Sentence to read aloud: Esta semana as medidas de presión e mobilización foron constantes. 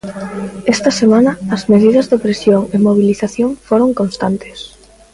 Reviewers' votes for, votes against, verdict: 1, 2, rejected